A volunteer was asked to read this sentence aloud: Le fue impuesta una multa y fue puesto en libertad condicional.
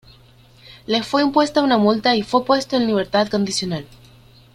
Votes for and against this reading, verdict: 2, 0, accepted